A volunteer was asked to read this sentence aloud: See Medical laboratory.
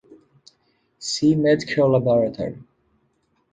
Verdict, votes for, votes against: accepted, 2, 0